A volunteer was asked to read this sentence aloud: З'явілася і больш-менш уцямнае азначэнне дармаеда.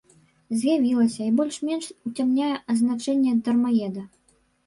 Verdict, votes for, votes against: rejected, 1, 2